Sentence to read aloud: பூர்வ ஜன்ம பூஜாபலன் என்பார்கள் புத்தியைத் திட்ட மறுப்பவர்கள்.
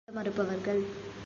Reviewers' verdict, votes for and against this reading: rejected, 0, 2